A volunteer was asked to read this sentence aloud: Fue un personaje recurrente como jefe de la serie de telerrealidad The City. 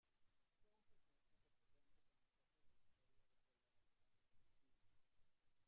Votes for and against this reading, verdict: 0, 2, rejected